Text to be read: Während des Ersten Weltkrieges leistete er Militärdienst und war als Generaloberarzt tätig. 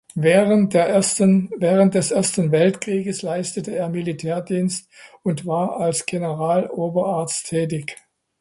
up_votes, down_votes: 0, 2